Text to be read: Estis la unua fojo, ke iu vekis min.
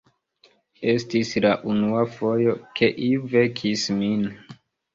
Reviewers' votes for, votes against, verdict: 2, 0, accepted